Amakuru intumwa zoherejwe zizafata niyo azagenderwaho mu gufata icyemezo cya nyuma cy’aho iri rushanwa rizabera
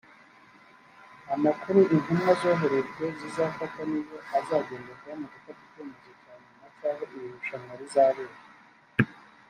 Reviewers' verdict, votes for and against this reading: rejected, 1, 2